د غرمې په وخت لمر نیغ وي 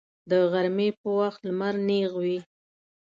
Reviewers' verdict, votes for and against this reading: accepted, 2, 0